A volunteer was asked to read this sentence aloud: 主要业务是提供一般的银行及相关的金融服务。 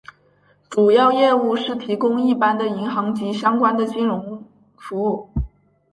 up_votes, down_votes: 4, 0